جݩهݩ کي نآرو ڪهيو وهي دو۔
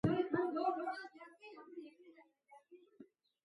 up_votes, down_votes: 1, 2